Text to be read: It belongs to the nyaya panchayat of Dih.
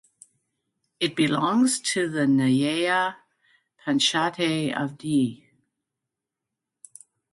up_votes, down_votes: 2, 1